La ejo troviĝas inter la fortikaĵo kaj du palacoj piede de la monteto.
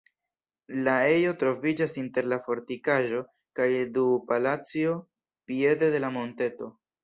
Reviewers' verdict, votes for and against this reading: accepted, 2, 0